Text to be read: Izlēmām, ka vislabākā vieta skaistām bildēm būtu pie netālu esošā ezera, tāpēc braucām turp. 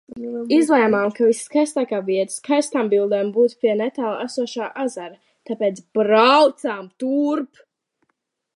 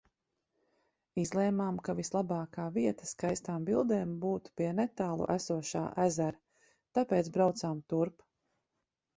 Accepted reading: second